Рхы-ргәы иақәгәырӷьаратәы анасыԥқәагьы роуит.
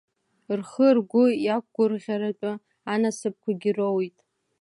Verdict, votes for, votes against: accepted, 2, 0